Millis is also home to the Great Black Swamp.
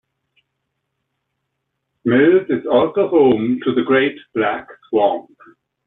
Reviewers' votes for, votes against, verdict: 1, 2, rejected